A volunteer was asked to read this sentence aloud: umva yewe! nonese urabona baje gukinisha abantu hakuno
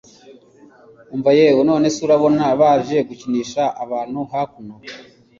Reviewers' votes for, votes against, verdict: 2, 0, accepted